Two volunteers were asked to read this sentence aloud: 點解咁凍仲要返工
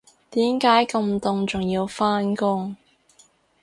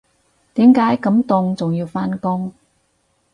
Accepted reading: first